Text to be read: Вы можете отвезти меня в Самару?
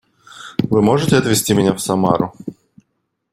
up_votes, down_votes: 2, 0